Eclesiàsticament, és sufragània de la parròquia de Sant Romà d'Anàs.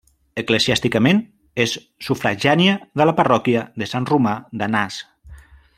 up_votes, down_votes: 0, 2